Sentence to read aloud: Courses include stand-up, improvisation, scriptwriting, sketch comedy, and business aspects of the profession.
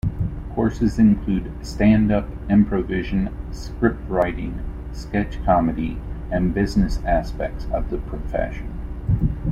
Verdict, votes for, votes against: rejected, 0, 2